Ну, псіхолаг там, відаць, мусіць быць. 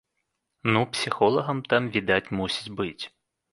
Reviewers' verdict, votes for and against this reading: rejected, 0, 2